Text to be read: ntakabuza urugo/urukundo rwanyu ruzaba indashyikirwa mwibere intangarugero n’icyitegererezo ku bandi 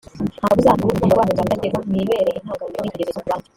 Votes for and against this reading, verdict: 0, 3, rejected